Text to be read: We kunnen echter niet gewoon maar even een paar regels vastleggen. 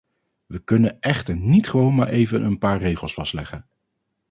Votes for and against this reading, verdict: 2, 0, accepted